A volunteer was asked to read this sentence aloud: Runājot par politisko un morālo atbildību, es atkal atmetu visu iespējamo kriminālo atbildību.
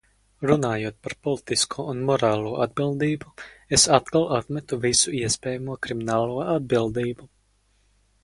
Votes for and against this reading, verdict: 4, 0, accepted